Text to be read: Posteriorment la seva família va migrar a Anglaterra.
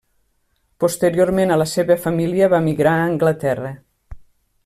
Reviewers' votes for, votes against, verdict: 0, 2, rejected